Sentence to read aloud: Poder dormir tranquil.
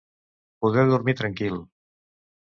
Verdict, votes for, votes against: accepted, 2, 0